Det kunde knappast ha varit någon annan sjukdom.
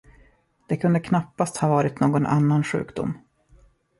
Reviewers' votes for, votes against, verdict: 2, 0, accepted